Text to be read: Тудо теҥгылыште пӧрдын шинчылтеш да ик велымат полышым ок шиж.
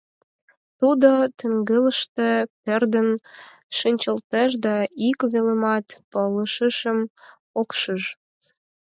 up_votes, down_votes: 4, 8